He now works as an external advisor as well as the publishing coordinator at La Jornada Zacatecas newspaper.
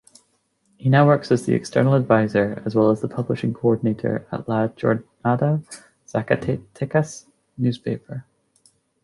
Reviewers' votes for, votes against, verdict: 0, 2, rejected